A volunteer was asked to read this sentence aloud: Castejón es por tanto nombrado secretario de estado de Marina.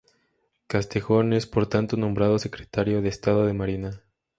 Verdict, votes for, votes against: accepted, 2, 0